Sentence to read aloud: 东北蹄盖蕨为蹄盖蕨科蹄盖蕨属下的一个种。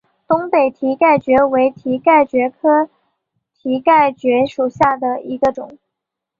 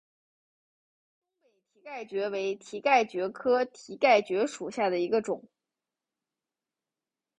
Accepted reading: first